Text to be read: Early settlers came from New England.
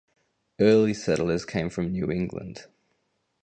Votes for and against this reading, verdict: 2, 2, rejected